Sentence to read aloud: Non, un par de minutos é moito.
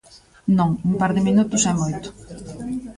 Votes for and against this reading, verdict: 2, 1, accepted